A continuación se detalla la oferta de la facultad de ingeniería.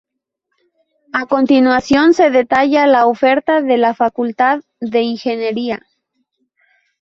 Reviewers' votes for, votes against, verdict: 0, 2, rejected